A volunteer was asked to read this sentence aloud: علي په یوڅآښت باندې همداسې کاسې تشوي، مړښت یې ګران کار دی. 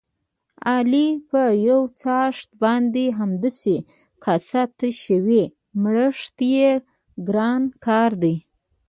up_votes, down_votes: 0, 2